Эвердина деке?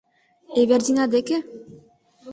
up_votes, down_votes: 2, 0